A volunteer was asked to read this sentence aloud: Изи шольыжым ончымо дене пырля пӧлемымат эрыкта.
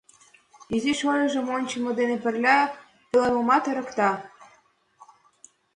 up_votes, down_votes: 2, 0